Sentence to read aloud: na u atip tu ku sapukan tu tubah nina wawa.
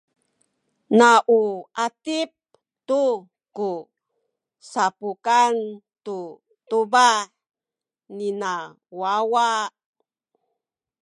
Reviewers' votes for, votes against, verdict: 2, 0, accepted